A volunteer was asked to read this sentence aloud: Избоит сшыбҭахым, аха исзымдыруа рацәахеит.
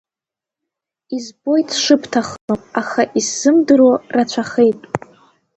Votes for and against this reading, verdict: 3, 1, accepted